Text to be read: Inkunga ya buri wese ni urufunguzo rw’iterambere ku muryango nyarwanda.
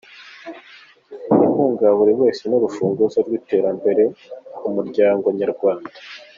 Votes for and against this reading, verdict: 2, 0, accepted